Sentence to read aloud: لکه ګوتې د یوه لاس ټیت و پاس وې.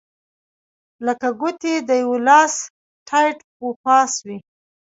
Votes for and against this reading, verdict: 2, 1, accepted